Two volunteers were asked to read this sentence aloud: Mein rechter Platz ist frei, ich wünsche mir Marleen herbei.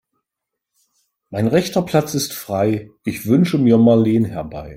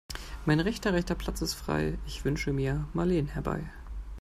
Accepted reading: first